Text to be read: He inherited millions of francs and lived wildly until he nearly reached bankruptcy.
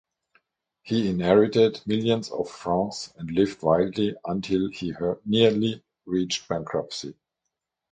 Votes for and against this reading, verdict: 0, 3, rejected